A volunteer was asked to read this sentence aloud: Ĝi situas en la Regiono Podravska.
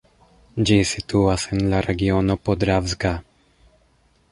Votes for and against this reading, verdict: 1, 2, rejected